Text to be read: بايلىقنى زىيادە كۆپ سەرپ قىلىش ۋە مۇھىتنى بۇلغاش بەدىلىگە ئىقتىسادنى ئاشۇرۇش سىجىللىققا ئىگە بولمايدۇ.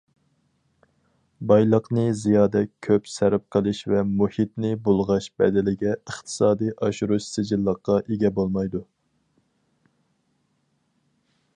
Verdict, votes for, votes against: rejected, 2, 4